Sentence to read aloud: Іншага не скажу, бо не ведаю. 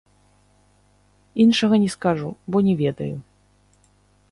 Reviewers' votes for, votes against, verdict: 0, 2, rejected